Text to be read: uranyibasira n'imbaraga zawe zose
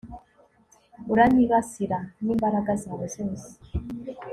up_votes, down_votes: 2, 0